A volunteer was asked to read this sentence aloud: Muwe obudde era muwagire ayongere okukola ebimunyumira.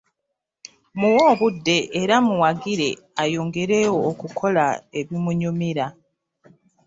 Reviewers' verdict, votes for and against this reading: accepted, 3, 0